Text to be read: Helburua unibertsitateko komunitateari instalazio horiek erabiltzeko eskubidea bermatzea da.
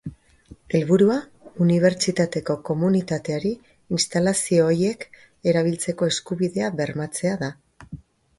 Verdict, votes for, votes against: rejected, 1, 2